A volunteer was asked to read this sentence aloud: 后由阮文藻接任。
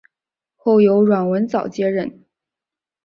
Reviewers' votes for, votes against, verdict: 2, 0, accepted